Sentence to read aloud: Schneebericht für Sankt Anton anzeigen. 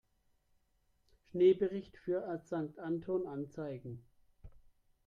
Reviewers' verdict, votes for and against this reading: rejected, 0, 2